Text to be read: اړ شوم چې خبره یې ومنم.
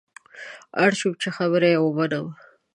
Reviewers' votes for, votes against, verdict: 2, 0, accepted